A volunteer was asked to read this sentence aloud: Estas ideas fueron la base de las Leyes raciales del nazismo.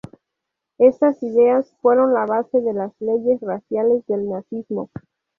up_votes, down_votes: 2, 2